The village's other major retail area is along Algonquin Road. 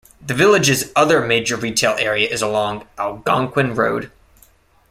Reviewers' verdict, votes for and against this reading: accepted, 2, 0